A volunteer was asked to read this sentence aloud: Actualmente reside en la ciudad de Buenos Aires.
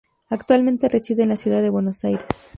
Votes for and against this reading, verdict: 4, 0, accepted